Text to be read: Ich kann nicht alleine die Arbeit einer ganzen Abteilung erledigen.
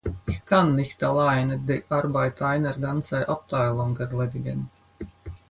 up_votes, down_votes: 0, 4